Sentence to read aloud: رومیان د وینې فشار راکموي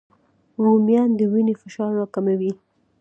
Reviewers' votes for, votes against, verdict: 2, 0, accepted